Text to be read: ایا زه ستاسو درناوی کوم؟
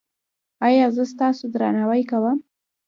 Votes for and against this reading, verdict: 0, 2, rejected